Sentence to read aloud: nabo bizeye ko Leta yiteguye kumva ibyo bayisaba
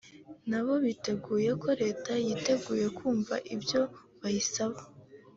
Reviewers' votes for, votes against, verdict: 3, 0, accepted